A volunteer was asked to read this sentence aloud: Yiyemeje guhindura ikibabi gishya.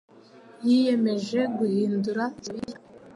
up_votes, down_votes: 1, 2